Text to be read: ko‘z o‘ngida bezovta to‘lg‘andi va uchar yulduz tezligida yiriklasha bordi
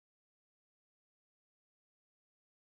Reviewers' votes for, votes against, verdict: 0, 2, rejected